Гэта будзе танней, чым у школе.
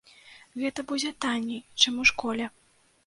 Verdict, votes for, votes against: accepted, 2, 0